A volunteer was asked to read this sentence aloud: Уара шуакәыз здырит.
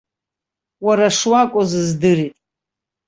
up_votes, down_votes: 2, 0